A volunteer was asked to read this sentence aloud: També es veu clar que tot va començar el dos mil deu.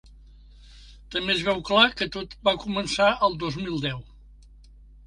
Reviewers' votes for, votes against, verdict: 3, 1, accepted